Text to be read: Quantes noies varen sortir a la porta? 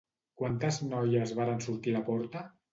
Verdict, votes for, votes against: rejected, 1, 2